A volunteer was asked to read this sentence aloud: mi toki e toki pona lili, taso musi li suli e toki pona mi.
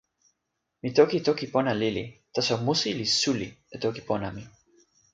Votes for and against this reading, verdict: 0, 2, rejected